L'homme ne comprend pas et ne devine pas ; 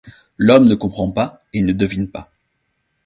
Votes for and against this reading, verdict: 2, 0, accepted